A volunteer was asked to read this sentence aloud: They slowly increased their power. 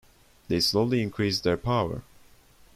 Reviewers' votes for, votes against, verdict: 1, 2, rejected